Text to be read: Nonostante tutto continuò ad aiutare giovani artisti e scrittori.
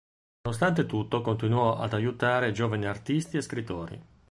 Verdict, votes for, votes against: rejected, 0, 2